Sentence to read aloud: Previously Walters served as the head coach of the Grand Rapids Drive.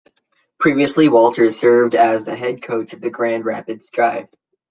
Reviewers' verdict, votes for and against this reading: accepted, 2, 0